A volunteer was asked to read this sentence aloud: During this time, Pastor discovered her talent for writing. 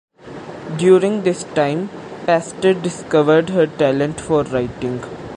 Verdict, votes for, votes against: accepted, 2, 0